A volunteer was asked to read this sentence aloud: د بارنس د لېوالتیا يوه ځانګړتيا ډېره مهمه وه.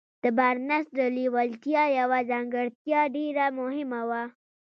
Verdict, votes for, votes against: accepted, 2, 0